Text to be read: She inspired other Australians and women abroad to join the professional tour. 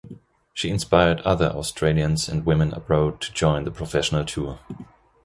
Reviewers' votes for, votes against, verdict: 2, 1, accepted